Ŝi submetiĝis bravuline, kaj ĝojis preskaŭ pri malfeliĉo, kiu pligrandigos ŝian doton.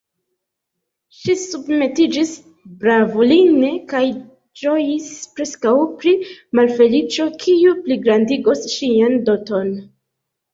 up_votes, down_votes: 2, 0